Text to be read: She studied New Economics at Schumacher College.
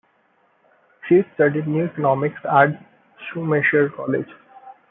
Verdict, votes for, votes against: rejected, 1, 2